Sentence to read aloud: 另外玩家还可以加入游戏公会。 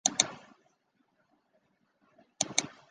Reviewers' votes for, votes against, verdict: 0, 2, rejected